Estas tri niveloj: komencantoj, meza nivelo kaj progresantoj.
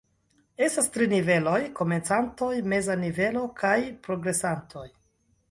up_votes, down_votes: 2, 0